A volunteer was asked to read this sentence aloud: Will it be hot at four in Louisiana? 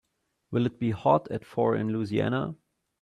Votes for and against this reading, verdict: 2, 0, accepted